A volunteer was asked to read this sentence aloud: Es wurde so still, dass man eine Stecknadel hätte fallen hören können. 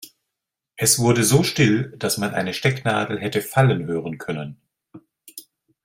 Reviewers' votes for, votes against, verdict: 2, 0, accepted